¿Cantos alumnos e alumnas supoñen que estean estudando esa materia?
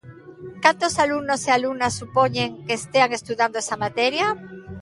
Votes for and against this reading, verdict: 1, 2, rejected